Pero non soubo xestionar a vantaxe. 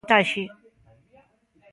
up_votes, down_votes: 0, 2